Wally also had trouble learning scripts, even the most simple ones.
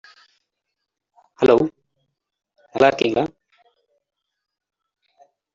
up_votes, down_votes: 1, 2